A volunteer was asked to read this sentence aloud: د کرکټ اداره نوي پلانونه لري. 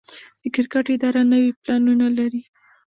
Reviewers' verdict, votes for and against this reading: rejected, 1, 2